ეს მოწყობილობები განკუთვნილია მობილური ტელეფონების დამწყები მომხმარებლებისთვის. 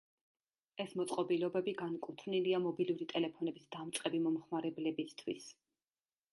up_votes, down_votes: 2, 0